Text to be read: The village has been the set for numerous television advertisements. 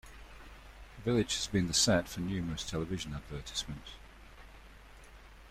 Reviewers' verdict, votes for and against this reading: rejected, 1, 2